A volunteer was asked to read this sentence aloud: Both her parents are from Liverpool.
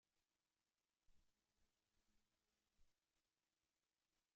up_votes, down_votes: 0, 2